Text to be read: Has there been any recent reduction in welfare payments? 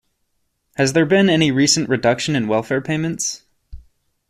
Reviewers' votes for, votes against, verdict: 2, 0, accepted